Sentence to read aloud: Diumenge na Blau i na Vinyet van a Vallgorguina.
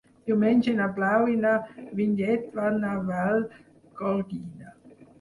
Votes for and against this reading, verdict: 0, 4, rejected